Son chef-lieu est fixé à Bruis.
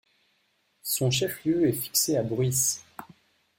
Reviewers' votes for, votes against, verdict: 2, 0, accepted